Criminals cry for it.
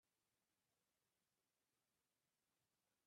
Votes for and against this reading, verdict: 0, 2, rejected